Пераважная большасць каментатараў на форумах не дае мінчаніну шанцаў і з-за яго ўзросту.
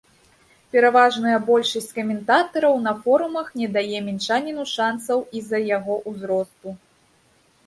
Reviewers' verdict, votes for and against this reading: accepted, 2, 0